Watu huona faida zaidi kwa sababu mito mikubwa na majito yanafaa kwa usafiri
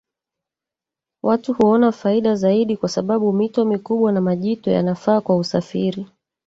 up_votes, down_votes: 3, 1